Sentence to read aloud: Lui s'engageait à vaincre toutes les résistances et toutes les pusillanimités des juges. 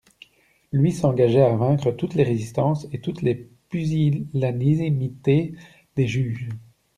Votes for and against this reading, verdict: 0, 2, rejected